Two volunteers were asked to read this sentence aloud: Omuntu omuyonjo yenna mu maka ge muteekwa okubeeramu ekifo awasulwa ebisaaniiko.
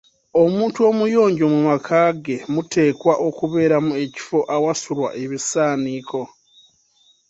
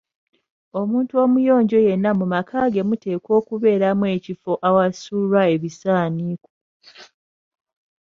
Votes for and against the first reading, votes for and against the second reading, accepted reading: 0, 2, 2, 1, second